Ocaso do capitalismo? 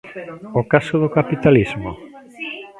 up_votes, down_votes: 1, 3